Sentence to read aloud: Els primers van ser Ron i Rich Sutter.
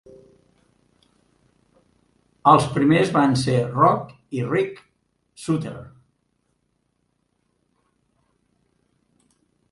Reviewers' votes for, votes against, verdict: 0, 2, rejected